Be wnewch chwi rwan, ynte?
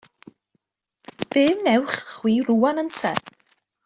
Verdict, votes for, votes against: accepted, 2, 0